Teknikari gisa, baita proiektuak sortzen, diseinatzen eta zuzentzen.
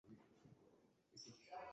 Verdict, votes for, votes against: rejected, 0, 2